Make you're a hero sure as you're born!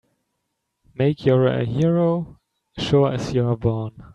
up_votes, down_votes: 2, 0